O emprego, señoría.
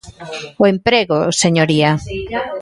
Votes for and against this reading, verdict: 2, 0, accepted